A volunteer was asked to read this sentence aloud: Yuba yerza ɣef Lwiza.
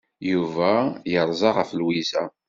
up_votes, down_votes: 1, 2